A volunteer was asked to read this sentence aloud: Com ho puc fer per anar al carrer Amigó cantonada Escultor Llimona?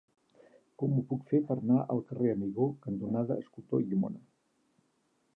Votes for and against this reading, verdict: 3, 4, rejected